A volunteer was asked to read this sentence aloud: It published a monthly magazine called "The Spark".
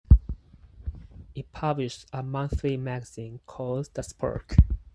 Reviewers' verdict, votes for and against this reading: rejected, 2, 4